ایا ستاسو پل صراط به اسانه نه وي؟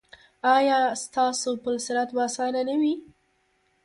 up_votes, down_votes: 0, 2